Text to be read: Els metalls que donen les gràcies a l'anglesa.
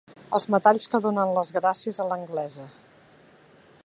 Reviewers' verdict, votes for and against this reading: accepted, 4, 0